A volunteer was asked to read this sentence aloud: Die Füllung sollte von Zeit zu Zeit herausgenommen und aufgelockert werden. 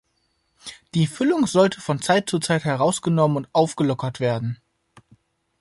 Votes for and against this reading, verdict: 2, 0, accepted